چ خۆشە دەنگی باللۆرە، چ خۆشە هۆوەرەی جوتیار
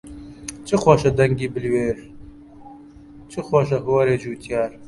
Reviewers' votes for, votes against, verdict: 1, 2, rejected